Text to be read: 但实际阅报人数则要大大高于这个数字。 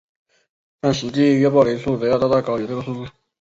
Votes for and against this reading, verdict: 2, 1, accepted